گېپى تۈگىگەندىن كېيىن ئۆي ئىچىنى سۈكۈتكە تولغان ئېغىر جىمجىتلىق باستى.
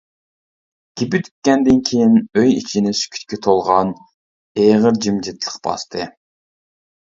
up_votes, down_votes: 1, 2